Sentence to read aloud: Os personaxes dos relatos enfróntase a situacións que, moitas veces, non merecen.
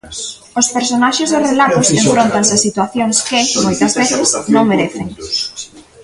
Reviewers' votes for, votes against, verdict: 0, 2, rejected